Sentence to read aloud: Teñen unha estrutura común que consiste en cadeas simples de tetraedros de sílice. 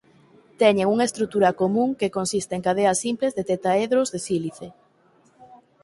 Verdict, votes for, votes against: accepted, 4, 0